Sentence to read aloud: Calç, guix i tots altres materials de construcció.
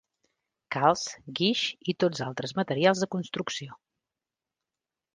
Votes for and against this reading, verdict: 2, 0, accepted